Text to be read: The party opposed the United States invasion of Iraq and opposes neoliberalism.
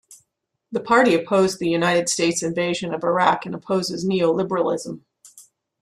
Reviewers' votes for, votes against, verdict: 2, 0, accepted